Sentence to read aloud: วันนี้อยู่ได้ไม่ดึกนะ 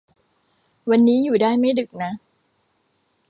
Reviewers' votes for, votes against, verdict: 1, 2, rejected